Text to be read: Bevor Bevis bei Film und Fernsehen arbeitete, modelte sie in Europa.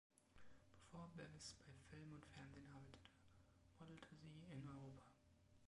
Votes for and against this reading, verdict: 2, 0, accepted